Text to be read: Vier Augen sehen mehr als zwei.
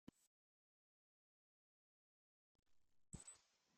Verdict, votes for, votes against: rejected, 0, 2